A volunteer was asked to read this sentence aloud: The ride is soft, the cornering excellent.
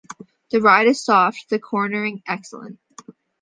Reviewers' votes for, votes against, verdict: 2, 0, accepted